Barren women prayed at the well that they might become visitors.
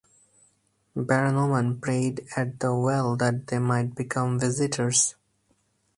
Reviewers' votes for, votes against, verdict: 4, 0, accepted